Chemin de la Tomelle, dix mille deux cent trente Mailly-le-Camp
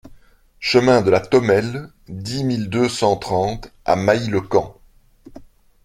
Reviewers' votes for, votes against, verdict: 0, 2, rejected